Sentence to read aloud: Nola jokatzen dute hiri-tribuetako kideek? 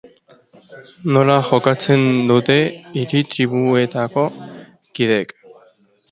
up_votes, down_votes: 2, 3